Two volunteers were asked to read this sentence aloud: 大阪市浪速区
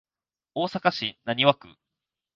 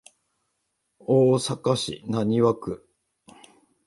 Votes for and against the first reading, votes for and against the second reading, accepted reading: 2, 0, 1, 2, first